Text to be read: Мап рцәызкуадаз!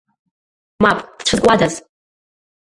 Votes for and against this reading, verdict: 1, 2, rejected